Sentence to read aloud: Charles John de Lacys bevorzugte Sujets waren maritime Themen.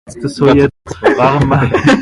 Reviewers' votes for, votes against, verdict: 0, 2, rejected